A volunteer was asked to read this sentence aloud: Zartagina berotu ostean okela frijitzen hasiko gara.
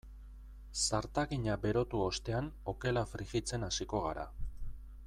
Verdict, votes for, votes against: accepted, 2, 0